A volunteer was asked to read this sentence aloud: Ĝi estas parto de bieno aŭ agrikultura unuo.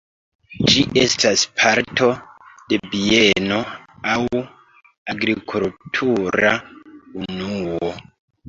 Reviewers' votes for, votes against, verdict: 2, 1, accepted